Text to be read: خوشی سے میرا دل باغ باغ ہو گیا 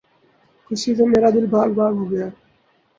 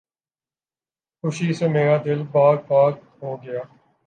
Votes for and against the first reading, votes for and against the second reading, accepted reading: 2, 2, 2, 1, second